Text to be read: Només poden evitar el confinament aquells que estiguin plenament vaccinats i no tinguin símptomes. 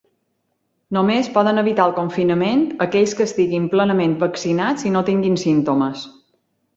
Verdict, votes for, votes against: accepted, 2, 0